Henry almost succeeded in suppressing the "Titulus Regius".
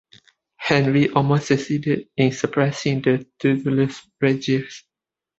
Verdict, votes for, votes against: accepted, 2, 0